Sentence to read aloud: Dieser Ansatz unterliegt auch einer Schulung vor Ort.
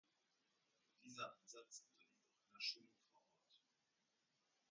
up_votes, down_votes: 0, 2